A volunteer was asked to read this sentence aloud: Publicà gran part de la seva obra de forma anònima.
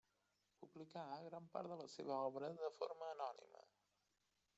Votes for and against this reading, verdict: 1, 2, rejected